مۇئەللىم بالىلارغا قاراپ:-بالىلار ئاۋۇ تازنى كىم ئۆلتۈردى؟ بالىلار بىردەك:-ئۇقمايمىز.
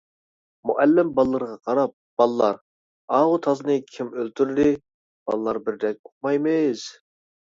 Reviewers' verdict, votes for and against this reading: rejected, 0, 2